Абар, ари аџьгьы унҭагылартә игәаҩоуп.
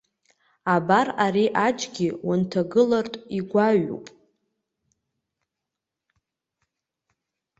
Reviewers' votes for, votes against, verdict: 2, 0, accepted